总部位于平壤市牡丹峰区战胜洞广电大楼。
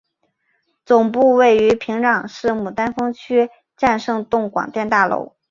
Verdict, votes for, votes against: accepted, 2, 0